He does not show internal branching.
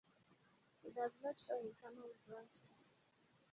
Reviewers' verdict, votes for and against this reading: rejected, 2, 2